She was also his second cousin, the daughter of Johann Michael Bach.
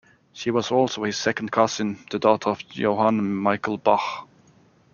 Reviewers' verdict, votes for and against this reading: rejected, 1, 2